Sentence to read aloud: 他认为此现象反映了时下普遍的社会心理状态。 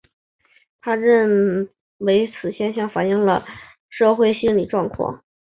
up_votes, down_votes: 0, 4